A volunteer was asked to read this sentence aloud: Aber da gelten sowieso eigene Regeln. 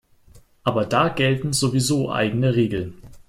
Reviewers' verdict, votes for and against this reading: accepted, 3, 0